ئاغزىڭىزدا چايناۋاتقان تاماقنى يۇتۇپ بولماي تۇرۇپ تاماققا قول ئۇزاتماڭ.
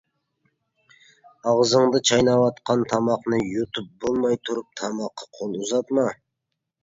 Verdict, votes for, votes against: rejected, 0, 2